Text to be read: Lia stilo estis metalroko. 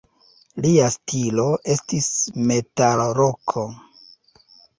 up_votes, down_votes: 2, 0